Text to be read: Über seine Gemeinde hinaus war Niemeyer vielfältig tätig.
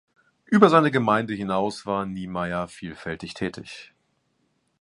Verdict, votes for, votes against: accepted, 2, 0